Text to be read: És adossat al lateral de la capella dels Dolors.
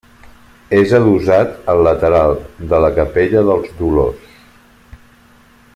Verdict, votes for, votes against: accepted, 3, 1